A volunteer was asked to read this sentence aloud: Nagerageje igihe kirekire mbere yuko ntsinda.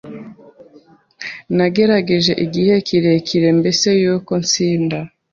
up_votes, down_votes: 1, 2